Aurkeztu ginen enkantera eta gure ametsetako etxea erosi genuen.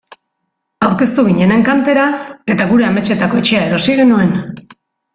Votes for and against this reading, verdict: 2, 0, accepted